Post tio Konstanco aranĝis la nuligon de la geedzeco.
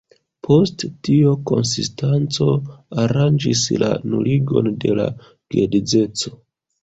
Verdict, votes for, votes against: rejected, 0, 2